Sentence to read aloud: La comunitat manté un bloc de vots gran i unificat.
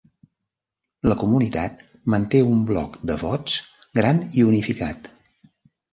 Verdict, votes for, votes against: rejected, 1, 2